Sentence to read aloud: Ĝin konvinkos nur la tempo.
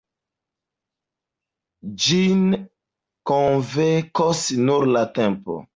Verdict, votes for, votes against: rejected, 0, 2